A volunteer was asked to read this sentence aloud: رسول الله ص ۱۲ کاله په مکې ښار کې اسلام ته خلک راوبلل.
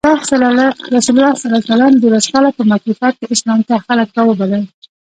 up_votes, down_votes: 0, 2